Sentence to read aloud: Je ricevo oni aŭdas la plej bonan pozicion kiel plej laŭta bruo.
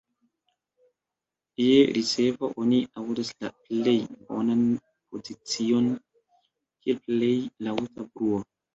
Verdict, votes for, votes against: accepted, 2, 0